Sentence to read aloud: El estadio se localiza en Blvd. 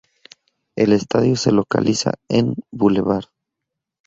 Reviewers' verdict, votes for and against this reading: rejected, 0, 2